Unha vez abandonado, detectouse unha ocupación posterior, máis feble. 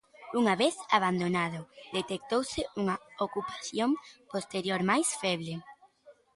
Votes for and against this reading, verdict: 2, 0, accepted